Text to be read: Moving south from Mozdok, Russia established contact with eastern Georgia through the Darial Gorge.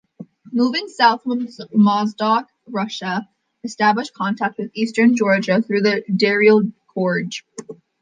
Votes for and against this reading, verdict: 2, 0, accepted